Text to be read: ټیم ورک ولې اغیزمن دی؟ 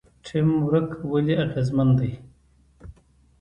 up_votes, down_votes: 2, 0